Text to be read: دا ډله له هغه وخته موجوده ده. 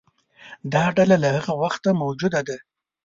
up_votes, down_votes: 2, 0